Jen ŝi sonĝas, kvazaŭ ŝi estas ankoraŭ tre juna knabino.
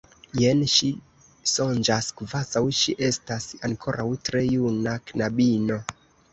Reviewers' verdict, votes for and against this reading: rejected, 2, 3